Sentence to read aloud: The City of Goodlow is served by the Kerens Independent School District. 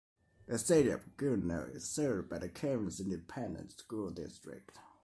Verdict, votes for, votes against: accepted, 2, 0